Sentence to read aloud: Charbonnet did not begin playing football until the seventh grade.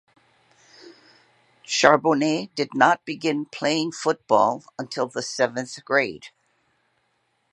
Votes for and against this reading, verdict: 2, 0, accepted